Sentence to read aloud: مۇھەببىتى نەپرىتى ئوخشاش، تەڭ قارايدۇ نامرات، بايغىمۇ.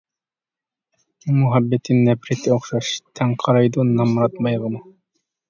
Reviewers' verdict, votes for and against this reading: accepted, 2, 1